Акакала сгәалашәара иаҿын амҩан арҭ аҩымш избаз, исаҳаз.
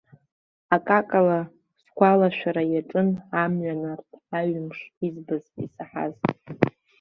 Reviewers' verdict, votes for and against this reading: accepted, 2, 1